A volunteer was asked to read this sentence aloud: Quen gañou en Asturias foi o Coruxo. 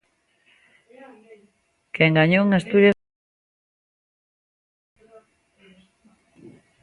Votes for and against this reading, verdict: 0, 2, rejected